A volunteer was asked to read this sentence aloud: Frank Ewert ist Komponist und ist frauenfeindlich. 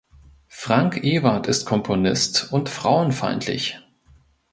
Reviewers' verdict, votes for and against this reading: rejected, 0, 3